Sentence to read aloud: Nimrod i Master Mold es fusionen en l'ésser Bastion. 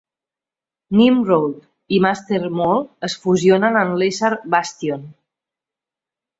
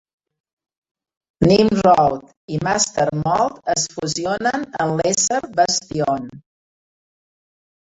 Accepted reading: first